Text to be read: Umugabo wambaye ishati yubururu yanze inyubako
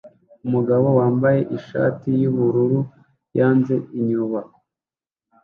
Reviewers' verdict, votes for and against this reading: rejected, 0, 2